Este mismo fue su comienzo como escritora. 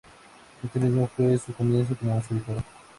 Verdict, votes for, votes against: accepted, 2, 0